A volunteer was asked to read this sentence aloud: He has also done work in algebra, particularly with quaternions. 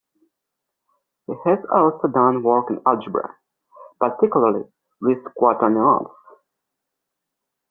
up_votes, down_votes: 0, 2